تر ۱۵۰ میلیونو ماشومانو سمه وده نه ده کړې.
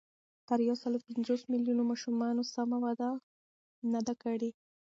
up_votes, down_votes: 0, 2